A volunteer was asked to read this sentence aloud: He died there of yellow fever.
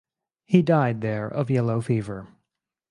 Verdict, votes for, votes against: accepted, 4, 0